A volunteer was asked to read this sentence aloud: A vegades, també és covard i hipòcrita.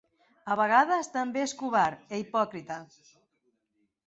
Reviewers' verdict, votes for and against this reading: rejected, 0, 2